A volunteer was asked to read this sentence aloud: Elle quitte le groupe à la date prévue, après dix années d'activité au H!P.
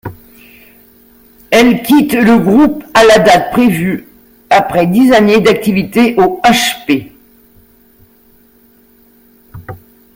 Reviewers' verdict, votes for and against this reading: accepted, 2, 0